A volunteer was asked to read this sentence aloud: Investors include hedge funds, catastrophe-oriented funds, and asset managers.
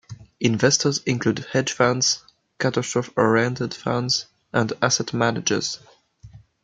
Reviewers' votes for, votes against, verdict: 2, 1, accepted